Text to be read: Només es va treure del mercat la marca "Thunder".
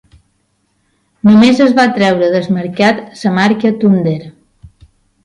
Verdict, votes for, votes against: rejected, 0, 2